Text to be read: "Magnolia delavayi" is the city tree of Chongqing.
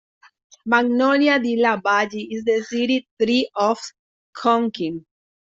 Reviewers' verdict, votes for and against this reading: rejected, 0, 2